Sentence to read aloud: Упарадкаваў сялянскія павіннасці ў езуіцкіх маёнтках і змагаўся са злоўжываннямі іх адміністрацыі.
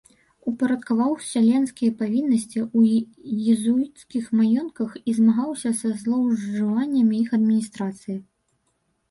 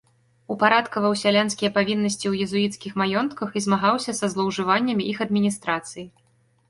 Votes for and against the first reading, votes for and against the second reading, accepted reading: 1, 2, 2, 0, second